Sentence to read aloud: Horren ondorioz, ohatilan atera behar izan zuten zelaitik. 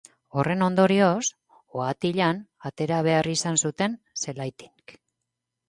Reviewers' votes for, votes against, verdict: 2, 0, accepted